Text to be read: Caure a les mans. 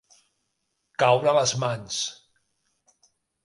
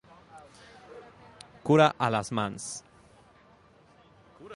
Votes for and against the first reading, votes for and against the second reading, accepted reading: 2, 0, 0, 2, first